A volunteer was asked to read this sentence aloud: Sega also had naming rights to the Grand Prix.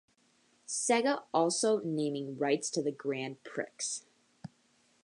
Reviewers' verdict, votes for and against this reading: rejected, 1, 3